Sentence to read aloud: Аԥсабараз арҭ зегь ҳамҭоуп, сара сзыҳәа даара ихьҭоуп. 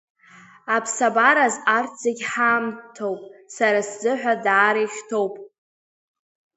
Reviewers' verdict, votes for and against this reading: accepted, 2, 0